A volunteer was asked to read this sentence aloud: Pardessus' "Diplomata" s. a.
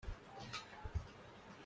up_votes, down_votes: 0, 2